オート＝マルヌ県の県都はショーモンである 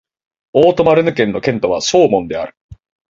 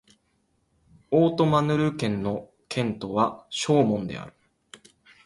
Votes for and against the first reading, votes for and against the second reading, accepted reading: 6, 1, 0, 2, first